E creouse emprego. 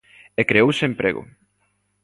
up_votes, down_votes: 2, 0